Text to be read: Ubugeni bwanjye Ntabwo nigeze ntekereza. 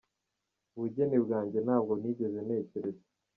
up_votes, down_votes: 0, 2